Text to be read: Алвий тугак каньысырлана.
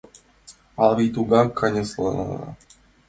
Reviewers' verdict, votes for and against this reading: rejected, 0, 2